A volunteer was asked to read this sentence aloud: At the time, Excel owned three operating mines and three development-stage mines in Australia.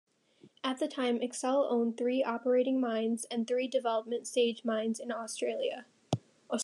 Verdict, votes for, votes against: rejected, 0, 2